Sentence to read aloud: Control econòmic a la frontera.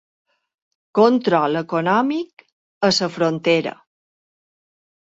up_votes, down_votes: 1, 2